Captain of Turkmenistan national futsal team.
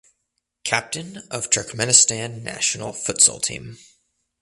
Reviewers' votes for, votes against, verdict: 2, 0, accepted